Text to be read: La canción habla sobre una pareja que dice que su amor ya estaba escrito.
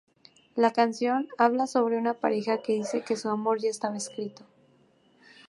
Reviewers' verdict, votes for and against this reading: rejected, 0, 2